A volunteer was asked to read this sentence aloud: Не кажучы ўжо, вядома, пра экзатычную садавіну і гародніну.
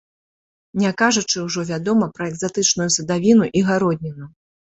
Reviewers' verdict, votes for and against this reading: accepted, 2, 0